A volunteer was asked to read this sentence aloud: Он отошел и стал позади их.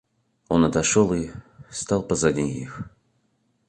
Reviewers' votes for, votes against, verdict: 0, 2, rejected